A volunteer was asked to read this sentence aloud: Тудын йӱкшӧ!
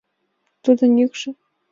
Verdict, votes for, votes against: accepted, 2, 0